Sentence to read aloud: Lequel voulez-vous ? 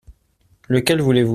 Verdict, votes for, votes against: accepted, 2, 0